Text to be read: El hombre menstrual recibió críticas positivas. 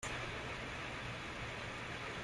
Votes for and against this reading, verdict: 0, 2, rejected